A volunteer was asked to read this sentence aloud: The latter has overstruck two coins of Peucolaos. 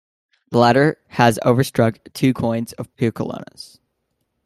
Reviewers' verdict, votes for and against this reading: accepted, 2, 0